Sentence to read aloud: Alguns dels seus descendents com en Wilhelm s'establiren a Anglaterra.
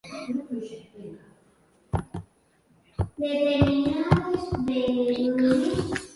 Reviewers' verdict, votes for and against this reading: rejected, 1, 2